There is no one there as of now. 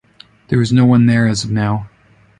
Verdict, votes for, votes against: accepted, 2, 0